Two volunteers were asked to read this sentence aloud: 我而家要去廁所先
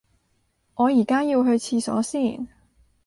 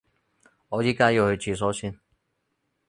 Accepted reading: first